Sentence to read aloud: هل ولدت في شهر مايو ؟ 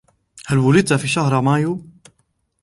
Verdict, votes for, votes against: rejected, 1, 2